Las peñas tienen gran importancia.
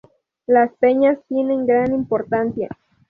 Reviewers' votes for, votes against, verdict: 2, 0, accepted